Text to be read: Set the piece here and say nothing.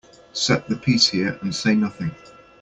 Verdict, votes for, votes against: accepted, 2, 0